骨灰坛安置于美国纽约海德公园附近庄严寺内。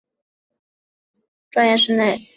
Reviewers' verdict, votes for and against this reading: rejected, 0, 3